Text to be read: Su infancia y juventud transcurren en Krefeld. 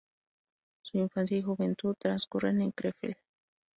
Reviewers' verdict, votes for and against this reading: accepted, 2, 0